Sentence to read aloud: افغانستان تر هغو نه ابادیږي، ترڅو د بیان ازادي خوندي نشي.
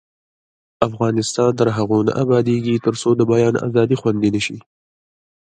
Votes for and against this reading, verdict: 0, 2, rejected